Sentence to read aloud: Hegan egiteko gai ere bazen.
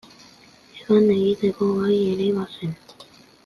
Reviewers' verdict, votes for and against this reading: accepted, 2, 0